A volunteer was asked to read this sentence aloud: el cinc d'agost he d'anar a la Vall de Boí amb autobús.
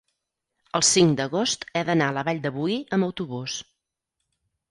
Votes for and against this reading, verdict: 4, 0, accepted